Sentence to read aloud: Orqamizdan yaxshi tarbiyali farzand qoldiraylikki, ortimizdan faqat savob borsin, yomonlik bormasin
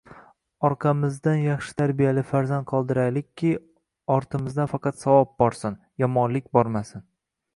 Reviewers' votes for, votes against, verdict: 1, 2, rejected